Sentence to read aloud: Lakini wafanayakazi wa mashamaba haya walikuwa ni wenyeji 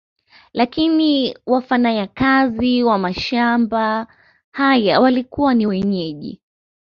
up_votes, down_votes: 2, 0